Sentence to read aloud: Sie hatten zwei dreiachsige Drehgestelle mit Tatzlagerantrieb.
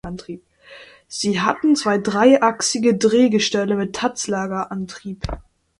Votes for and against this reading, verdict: 0, 2, rejected